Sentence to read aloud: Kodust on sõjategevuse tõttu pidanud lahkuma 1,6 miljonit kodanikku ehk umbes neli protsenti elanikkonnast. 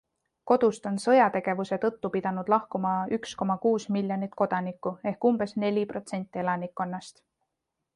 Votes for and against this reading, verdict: 0, 2, rejected